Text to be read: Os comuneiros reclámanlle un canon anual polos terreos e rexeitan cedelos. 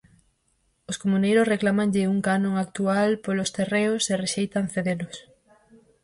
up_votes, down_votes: 0, 4